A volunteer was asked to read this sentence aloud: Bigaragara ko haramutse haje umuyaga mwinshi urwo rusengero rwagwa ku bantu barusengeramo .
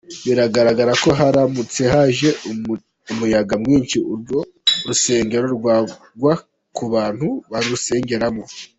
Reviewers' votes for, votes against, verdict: 0, 2, rejected